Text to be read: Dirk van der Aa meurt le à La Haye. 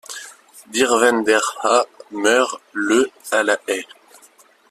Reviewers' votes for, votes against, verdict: 0, 2, rejected